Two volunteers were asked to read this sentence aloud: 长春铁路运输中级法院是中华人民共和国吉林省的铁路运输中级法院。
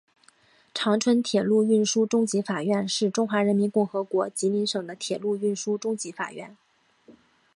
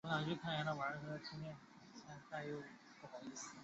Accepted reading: first